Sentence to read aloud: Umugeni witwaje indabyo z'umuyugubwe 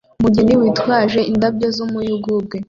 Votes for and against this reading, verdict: 2, 0, accepted